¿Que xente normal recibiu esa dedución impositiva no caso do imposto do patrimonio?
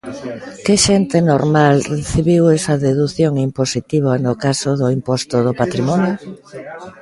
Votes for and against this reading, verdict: 2, 0, accepted